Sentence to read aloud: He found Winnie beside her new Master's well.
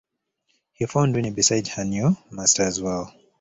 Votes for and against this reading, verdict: 3, 1, accepted